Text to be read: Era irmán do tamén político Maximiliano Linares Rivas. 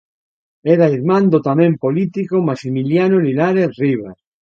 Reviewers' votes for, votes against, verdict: 2, 0, accepted